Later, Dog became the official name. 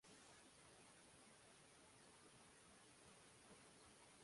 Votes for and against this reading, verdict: 0, 2, rejected